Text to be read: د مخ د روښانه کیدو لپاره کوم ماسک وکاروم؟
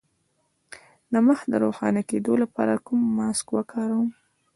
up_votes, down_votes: 0, 2